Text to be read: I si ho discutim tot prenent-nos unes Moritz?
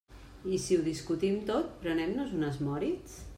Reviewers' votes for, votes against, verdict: 0, 2, rejected